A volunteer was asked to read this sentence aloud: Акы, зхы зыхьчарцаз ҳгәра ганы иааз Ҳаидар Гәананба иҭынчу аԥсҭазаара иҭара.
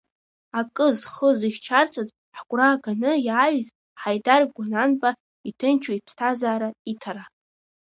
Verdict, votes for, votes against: rejected, 1, 2